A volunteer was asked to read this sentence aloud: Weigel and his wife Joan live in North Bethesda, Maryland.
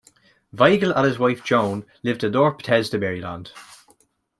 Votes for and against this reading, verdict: 2, 0, accepted